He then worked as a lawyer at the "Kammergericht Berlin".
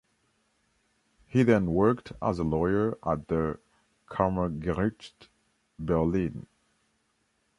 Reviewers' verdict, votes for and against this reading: accepted, 2, 0